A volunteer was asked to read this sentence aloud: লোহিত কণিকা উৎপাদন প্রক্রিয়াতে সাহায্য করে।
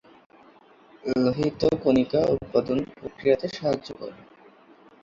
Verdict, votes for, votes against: rejected, 1, 2